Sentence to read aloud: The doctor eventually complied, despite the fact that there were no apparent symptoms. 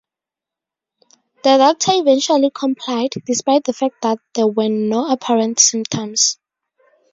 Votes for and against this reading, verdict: 4, 0, accepted